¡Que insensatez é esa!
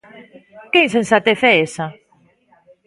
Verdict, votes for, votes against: rejected, 0, 2